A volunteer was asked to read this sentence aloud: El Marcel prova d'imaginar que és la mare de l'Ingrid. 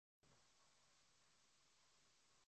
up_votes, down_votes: 0, 3